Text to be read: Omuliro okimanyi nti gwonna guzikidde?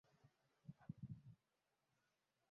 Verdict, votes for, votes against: rejected, 0, 2